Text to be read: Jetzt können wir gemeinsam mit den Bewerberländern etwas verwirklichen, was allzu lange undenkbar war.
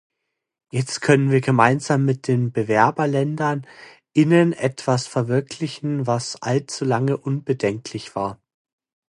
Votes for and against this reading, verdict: 0, 2, rejected